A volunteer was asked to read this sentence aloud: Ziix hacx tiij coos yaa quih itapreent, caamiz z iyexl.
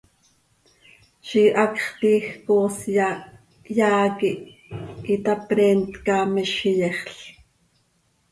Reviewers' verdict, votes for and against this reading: rejected, 1, 2